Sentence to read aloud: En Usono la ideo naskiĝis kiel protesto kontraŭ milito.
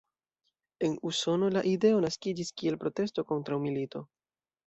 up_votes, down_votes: 2, 0